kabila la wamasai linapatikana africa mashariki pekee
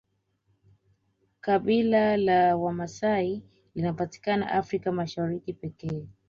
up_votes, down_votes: 2, 0